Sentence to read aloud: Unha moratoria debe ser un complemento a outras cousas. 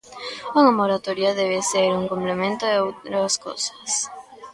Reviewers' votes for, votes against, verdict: 0, 2, rejected